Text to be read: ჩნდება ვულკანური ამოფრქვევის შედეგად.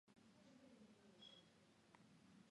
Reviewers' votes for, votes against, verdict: 1, 2, rejected